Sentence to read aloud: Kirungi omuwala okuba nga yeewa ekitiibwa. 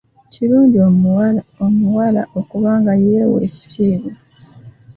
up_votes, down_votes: 1, 2